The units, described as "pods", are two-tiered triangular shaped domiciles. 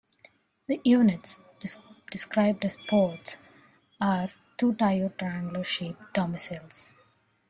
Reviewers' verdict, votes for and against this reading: rejected, 1, 2